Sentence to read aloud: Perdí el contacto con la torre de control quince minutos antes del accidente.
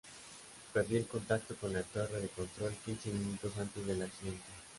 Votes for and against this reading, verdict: 2, 0, accepted